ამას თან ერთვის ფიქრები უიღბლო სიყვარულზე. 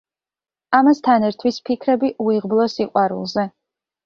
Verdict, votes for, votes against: accepted, 2, 0